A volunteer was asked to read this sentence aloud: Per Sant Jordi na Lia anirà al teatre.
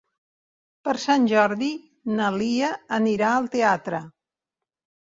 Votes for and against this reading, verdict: 3, 0, accepted